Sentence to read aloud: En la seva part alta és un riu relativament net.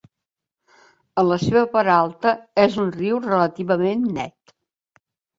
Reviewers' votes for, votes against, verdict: 2, 0, accepted